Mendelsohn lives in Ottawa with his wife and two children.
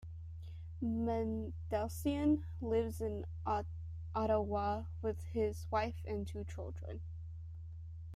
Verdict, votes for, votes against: rejected, 0, 2